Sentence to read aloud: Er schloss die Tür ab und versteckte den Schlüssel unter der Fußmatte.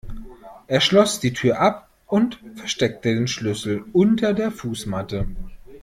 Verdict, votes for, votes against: accepted, 2, 0